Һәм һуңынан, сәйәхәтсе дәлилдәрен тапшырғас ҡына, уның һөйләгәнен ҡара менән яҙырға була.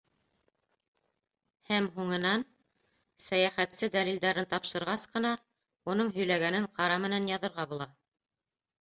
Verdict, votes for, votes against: rejected, 0, 2